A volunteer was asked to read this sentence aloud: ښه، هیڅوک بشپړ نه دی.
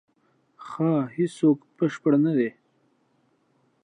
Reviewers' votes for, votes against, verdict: 2, 1, accepted